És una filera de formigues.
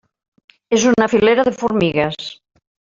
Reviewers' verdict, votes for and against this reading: rejected, 1, 2